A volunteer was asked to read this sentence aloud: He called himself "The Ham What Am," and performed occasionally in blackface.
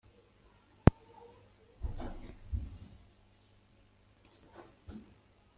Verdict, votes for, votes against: rejected, 0, 2